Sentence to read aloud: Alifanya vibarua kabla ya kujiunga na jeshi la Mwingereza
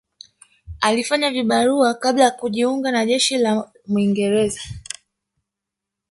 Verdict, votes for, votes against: rejected, 0, 2